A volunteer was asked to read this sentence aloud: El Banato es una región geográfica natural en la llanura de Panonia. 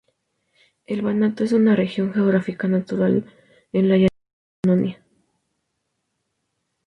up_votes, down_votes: 2, 2